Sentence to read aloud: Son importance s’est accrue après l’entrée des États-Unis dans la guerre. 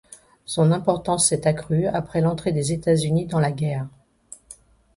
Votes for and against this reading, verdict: 2, 0, accepted